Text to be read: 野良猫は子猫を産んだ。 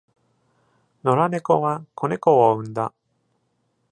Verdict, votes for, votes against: accepted, 2, 0